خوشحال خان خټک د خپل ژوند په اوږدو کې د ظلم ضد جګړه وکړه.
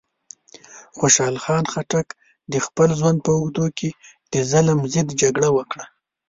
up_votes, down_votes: 2, 0